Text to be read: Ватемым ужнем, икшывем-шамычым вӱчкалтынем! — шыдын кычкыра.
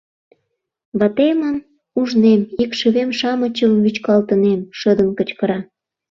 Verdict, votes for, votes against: accepted, 2, 0